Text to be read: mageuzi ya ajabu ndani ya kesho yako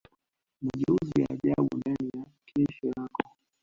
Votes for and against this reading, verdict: 1, 2, rejected